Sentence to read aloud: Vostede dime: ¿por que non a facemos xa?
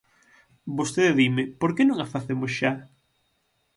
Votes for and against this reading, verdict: 6, 0, accepted